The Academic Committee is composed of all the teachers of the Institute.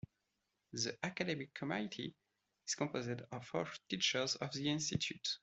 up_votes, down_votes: 1, 2